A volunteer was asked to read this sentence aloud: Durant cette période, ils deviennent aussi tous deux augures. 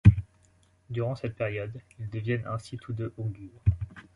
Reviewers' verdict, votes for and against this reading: rejected, 0, 2